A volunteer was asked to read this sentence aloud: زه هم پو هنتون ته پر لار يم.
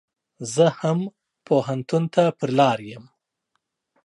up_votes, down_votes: 2, 0